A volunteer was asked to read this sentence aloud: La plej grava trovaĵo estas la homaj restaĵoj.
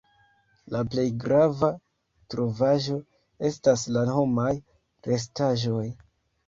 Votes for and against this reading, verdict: 1, 2, rejected